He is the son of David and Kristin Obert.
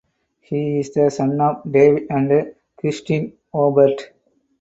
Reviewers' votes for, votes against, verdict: 0, 2, rejected